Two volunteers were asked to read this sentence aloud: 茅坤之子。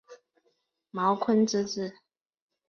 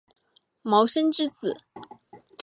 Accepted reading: first